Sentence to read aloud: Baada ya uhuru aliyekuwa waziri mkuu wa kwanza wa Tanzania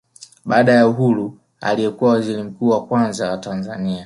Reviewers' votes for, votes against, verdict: 3, 0, accepted